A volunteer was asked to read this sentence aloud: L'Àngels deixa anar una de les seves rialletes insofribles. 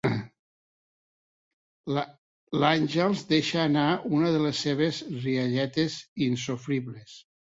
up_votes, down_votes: 2, 3